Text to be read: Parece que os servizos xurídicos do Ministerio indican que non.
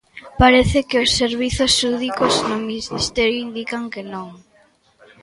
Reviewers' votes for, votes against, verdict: 0, 2, rejected